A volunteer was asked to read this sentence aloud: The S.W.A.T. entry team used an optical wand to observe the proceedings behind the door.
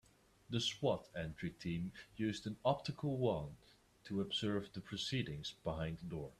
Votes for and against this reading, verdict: 2, 0, accepted